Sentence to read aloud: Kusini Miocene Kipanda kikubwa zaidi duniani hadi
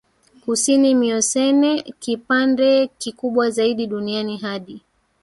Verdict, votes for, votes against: rejected, 1, 2